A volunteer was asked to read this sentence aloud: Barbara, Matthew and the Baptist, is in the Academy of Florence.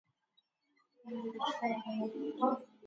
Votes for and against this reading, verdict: 0, 2, rejected